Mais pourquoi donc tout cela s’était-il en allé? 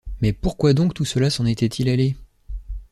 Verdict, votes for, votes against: rejected, 1, 2